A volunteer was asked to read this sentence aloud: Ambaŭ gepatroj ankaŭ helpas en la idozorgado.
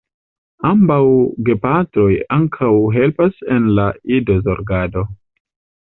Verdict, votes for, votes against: accepted, 2, 0